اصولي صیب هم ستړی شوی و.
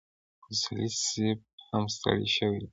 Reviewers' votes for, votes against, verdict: 2, 1, accepted